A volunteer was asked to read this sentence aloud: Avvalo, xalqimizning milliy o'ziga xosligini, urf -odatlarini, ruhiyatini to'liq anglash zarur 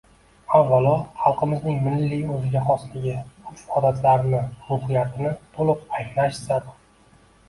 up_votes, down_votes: 1, 2